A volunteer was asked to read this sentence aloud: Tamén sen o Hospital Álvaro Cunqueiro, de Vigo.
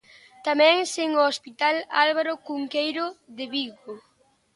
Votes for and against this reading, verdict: 2, 0, accepted